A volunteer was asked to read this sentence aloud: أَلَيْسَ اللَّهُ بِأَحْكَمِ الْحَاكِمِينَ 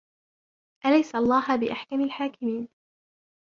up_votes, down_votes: 0, 2